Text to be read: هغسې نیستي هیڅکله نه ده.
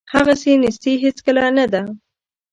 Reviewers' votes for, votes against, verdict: 2, 0, accepted